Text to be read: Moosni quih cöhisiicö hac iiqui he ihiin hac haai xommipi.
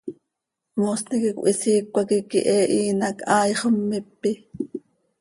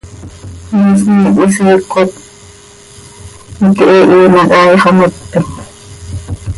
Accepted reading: first